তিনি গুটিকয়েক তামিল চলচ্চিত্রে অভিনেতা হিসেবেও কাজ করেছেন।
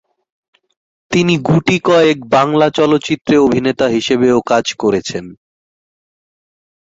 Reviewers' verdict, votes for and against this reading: rejected, 0, 3